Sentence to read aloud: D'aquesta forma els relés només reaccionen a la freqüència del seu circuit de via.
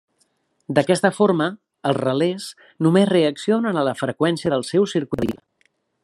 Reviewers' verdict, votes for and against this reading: rejected, 0, 2